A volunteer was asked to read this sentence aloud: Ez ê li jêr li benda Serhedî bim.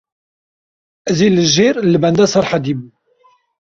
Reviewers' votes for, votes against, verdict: 2, 1, accepted